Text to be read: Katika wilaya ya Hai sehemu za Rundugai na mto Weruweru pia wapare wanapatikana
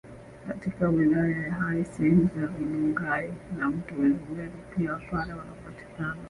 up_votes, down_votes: 3, 1